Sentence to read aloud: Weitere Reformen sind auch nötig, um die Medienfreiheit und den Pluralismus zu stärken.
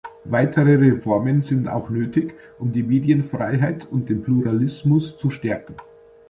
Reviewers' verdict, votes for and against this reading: accepted, 2, 0